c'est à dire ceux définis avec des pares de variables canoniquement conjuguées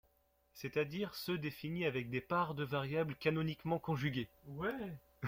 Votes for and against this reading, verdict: 0, 2, rejected